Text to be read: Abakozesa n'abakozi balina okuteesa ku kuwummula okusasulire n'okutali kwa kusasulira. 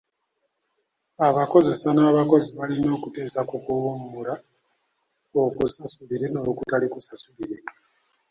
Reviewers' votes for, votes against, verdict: 0, 2, rejected